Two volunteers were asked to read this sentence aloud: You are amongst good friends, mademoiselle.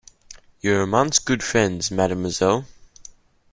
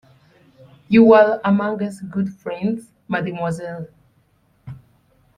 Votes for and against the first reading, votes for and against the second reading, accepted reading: 2, 0, 0, 2, first